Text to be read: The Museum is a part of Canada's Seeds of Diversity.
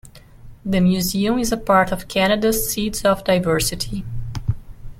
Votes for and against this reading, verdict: 2, 0, accepted